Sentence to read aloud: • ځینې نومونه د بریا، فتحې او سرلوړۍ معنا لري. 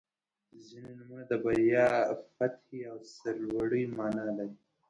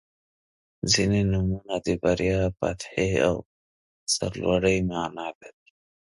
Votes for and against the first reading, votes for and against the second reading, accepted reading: 0, 2, 3, 0, second